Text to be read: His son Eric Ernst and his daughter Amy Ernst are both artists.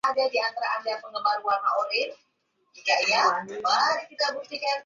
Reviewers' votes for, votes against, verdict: 0, 2, rejected